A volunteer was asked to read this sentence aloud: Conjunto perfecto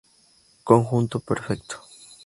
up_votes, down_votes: 2, 0